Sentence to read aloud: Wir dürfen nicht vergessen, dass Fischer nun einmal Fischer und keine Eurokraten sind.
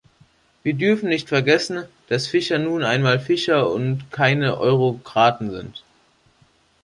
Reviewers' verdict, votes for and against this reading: accepted, 2, 0